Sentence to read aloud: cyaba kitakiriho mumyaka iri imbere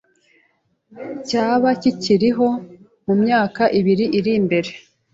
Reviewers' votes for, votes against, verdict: 0, 2, rejected